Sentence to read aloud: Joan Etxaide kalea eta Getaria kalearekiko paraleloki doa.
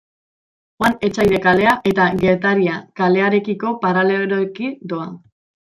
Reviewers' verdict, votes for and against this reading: rejected, 1, 2